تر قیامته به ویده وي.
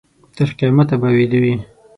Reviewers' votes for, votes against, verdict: 6, 0, accepted